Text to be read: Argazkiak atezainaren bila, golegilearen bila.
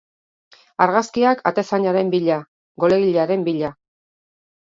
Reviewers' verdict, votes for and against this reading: accepted, 4, 0